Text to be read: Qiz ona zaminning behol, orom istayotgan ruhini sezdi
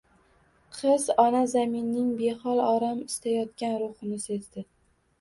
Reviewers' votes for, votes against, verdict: 2, 0, accepted